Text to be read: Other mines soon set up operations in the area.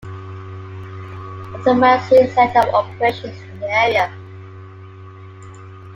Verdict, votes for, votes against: rejected, 0, 2